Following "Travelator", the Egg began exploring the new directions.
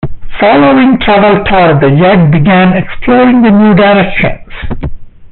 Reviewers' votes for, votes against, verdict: 0, 2, rejected